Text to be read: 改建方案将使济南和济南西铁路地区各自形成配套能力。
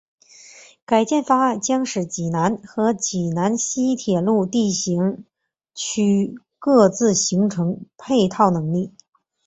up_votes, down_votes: 0, 2